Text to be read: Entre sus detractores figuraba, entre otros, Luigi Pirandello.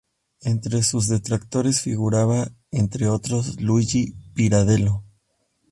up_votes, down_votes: 0, 2